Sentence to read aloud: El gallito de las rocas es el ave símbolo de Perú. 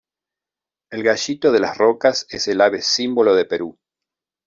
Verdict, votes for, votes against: accepted, 2, 0